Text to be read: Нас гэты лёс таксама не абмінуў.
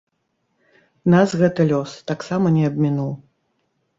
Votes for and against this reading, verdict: 2, 0, accepted